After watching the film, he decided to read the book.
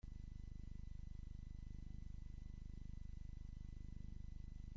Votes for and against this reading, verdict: 0, 2, rejected